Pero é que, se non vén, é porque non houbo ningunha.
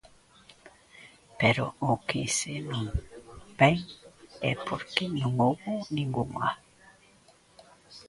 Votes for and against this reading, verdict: 0, 2, rejected